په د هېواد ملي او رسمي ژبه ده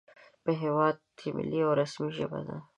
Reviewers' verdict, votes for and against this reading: accepted, 2, 0